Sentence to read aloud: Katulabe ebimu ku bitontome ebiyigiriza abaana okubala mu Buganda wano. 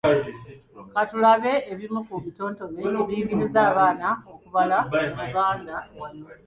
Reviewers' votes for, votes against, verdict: 1, 2, rejected